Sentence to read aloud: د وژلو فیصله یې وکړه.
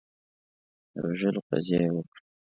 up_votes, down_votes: 0, 2